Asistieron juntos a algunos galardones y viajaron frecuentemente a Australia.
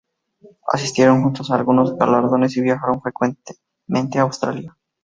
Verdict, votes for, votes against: rejected, 0, 2